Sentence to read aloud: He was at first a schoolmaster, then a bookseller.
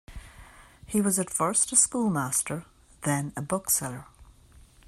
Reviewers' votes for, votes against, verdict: 2, 0, accepted